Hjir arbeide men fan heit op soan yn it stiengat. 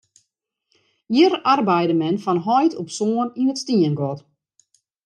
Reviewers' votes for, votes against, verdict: 2, 0, accepted